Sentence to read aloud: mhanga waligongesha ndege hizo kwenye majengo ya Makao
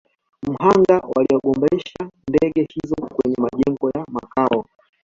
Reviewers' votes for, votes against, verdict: 0, 2, rejected